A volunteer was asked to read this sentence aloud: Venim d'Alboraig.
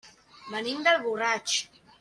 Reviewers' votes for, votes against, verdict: 1, 2, rejected